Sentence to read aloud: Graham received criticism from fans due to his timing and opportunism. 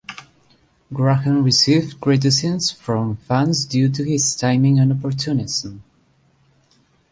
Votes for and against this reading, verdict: 1, 2, rejected